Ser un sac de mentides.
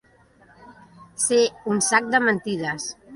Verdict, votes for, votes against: accepted, 2, 1